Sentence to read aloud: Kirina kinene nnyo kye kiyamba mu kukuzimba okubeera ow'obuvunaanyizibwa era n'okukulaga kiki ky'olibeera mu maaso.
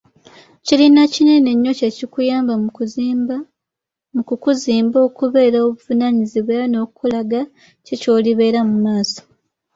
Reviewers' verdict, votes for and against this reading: accepted, 2, 0